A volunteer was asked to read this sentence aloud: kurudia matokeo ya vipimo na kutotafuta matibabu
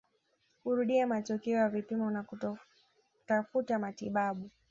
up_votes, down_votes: 2, 0